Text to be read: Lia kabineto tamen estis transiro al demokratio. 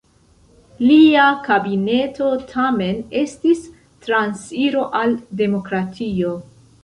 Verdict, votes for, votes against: rejected, 1, 2